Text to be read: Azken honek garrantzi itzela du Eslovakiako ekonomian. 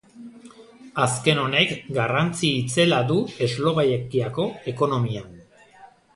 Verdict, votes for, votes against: rejected, 0, 2